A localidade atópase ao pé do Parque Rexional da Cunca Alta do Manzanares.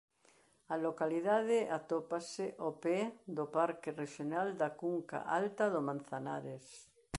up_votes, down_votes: 2, 0